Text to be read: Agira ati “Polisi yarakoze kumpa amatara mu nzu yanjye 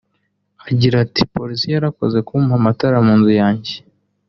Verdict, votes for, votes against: accepted, 2, 0